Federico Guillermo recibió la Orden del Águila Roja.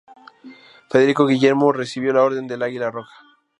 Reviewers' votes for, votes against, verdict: 2, 0, accepted